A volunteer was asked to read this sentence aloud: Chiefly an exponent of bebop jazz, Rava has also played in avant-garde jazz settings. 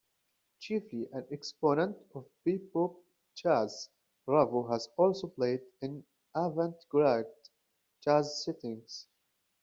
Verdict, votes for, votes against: rejected, 0, 2